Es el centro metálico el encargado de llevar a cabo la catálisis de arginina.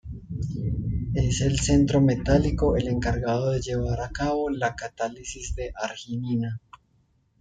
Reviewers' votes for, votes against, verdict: 2, 0, accepted